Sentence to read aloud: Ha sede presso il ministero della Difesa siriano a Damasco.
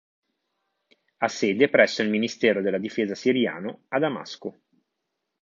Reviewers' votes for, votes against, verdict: 2, 0, accepted